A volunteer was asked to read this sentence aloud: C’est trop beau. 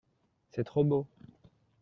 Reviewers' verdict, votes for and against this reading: accepted, 2, 0